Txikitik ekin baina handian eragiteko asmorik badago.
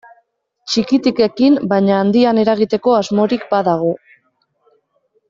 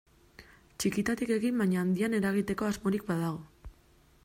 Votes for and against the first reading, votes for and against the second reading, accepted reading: 2, 0, 1, 2, first